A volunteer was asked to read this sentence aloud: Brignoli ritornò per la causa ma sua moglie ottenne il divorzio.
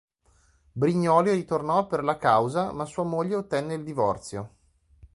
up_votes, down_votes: 2, 0